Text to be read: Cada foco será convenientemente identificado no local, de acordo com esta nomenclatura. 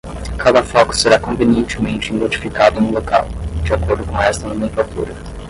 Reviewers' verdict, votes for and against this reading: rejected, 5, 5